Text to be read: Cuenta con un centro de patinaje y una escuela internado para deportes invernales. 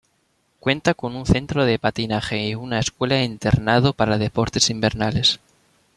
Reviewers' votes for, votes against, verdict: 2, 0, accepted